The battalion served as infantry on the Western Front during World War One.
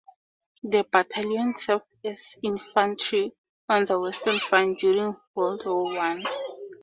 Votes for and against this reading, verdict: 4, 0, accepted